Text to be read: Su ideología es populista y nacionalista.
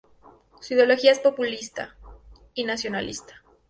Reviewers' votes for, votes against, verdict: 2, 0, accepted